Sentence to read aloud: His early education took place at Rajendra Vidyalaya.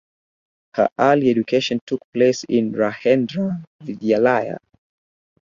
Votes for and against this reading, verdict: 0, 4, rejected